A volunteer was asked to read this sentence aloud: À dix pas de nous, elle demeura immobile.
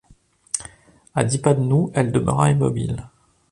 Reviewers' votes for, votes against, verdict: 2, 0, accepted